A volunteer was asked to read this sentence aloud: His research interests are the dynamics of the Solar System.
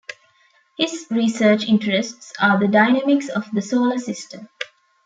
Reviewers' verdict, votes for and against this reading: accepted, 2, 0